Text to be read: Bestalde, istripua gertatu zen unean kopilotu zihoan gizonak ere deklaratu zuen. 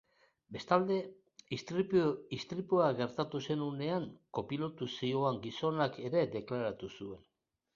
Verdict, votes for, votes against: rejected, 1, 2